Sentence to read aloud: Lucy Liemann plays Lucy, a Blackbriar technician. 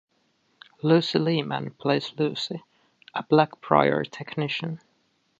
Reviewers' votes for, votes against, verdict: 2, 0, accepted